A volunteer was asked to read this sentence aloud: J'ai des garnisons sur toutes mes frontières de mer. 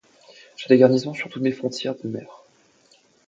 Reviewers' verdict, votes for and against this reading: accepted, 2, 0